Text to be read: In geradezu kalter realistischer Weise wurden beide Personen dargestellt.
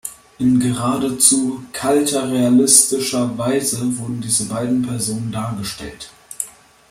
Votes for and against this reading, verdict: 1, 2, rejected